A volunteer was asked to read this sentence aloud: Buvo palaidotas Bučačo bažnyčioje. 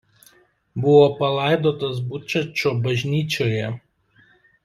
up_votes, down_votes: 2, 0